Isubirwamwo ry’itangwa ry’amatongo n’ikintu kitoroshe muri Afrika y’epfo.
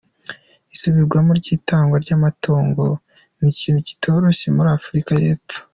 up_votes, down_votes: 2, 0